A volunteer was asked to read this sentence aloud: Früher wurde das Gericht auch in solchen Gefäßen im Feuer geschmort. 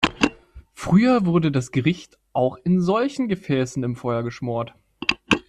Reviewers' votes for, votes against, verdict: 2, 0, accepted